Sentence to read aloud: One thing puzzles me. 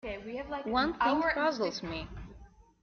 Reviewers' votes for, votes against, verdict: 2, 0, accepted